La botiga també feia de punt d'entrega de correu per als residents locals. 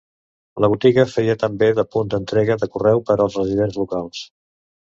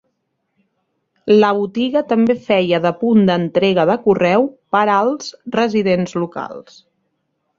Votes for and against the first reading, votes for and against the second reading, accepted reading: 1, 2, 3, 0, second